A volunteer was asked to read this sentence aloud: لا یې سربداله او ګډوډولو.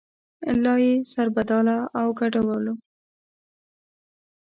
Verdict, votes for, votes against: rejected, 1, 2